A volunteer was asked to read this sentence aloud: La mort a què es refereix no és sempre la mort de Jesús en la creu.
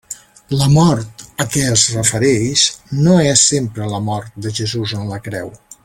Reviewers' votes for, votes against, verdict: 2, 0, accepted